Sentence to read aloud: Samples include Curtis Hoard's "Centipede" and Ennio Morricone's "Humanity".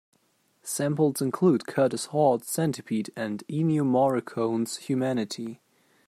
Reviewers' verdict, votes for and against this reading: accepted, 2, 0